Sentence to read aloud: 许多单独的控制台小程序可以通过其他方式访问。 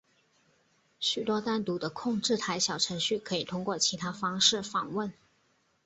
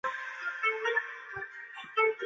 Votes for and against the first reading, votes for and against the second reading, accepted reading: 4, 0, 0, 2, first